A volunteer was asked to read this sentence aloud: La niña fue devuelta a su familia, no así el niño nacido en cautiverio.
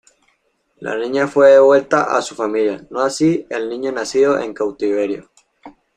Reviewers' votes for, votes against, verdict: 2, 0, accepted